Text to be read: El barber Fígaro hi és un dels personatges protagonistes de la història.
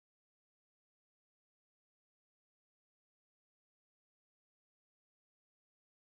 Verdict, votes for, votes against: rejected, 0, 2